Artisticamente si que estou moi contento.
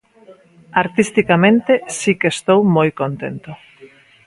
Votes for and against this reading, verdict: 2, 0, accepted